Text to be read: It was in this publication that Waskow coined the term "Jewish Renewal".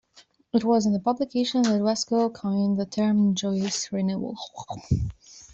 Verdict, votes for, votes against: rejected, 1, 2